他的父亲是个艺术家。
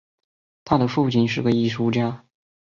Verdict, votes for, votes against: accepted, 2, 0